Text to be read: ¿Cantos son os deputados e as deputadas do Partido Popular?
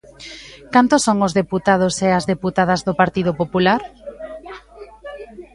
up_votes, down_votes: 0, 2